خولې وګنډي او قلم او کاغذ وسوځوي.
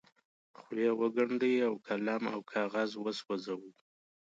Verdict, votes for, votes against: accepted, 2, 0